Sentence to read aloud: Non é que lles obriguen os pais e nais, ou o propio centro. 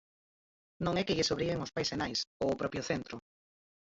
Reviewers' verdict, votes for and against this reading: rejected, 0, 4